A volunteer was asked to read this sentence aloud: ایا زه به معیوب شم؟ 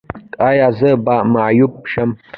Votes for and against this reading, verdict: 1, 2, rejected